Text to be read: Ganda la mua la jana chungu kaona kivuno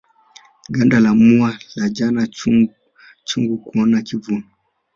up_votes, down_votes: 0, 2